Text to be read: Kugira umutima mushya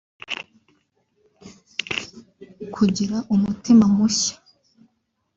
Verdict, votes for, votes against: rejected, 1, 2